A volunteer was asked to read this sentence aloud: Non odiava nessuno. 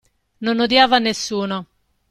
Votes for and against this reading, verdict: 2, 0, accepted